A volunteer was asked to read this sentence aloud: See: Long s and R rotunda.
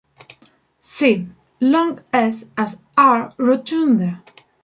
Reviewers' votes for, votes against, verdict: 0, 2, rejected